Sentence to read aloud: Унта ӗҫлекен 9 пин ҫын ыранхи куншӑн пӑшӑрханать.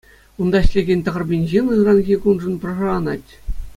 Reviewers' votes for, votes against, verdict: 0, 2, rejected